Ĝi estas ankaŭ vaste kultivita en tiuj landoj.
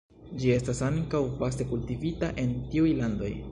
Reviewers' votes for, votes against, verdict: 2, 0, accepted